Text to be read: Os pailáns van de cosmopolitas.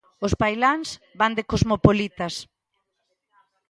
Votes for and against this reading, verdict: 3, 1, accepted